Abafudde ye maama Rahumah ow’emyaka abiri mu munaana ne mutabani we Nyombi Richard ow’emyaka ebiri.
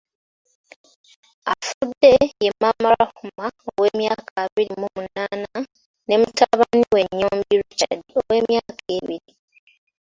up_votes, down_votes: 3, 4